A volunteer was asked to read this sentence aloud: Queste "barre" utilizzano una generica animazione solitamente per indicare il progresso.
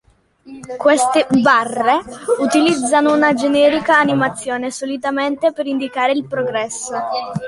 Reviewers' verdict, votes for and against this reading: rejected, 1, 2